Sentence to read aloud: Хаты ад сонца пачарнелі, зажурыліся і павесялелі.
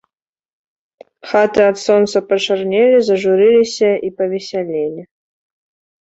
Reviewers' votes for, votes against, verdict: 2, 0, accepted